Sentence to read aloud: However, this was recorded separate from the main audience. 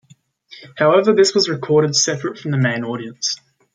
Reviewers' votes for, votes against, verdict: 2, 0, accepted